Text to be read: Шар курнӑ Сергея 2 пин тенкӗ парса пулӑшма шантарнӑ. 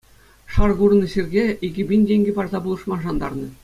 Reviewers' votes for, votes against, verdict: 0, 2, rejected